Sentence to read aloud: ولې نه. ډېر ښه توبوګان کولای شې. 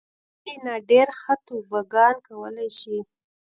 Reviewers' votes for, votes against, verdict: 0, 2, rejected